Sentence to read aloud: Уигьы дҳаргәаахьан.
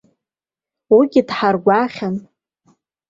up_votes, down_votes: 1, 2